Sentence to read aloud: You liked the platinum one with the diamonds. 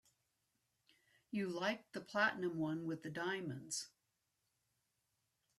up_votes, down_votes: 3, 0